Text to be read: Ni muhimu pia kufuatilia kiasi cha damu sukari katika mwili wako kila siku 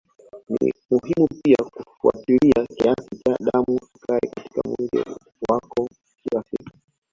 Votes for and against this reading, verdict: 2, 1, accepted